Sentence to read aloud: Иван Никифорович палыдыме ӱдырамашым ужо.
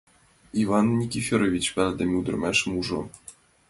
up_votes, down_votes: 2, 0